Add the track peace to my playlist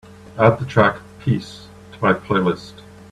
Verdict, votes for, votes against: accepted, 2, 0